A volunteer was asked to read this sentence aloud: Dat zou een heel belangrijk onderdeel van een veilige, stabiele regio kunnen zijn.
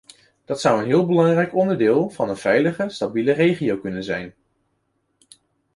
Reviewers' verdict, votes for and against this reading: accepted, 2, 0